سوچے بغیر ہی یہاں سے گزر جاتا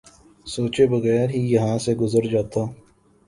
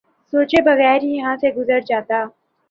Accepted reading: second